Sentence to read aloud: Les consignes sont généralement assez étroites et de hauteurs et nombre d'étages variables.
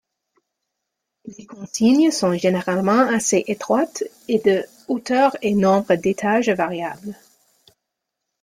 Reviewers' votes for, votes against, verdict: 2, 0, accepted